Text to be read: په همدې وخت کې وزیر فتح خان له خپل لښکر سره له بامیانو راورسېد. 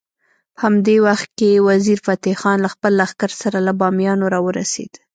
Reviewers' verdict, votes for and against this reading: rejected, 1, 2